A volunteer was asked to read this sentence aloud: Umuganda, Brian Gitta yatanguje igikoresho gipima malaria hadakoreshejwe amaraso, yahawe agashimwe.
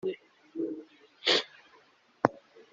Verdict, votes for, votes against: rejected, 0, 2